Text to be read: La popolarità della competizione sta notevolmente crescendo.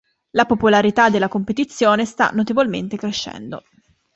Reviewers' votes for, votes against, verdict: 2, 0, accepted